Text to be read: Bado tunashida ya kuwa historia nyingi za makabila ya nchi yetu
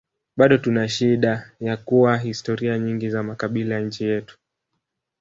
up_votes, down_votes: 0, 2